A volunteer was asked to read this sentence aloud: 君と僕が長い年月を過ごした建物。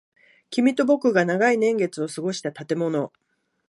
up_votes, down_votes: 2, 1